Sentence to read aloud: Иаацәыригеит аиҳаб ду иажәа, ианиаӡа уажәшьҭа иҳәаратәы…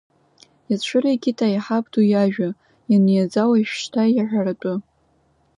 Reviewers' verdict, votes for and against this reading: rejected, 0, 2